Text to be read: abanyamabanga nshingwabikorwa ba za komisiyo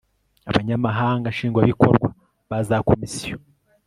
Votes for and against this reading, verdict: 1, 2, rejected